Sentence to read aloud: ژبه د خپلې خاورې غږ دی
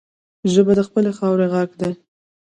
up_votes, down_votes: 0, 2